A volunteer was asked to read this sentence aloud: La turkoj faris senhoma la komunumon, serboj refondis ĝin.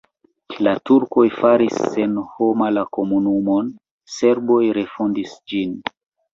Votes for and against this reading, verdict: 2, 0, accepted